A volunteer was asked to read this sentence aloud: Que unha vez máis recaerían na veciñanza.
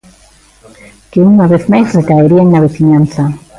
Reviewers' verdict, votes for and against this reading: accepted, 2, 0